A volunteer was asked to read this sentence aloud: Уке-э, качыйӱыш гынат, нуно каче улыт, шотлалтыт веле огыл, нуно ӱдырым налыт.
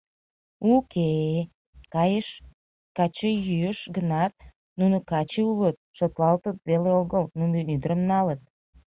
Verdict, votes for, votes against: rejected, 0, 2